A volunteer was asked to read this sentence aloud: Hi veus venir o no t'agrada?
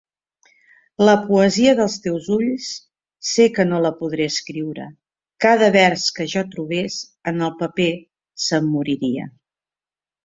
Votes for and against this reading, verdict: 0, 2, rejected